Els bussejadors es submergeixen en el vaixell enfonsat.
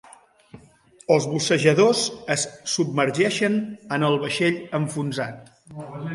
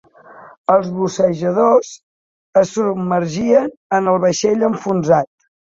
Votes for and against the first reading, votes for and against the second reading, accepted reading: 3, 0, 0, 2, first